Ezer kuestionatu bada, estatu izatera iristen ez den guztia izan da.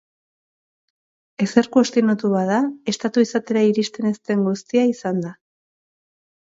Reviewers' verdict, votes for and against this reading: accepted, 4, 0